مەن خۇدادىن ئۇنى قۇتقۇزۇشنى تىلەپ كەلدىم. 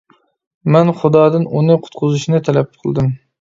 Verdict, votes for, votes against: rejected, 0, 2